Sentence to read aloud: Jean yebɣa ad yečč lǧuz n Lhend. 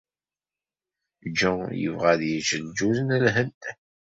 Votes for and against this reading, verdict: 2, 0, accepted